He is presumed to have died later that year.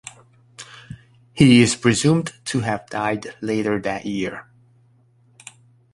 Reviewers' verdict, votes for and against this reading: accepted, 2, 0